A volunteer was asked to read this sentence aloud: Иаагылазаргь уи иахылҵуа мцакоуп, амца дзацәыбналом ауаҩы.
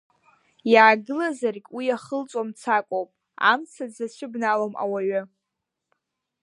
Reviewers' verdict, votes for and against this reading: accepted, 2, 0